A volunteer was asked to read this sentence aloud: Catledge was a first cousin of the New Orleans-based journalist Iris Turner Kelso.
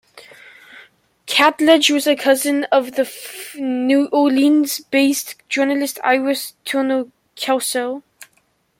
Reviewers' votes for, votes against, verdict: 0, 2, rejected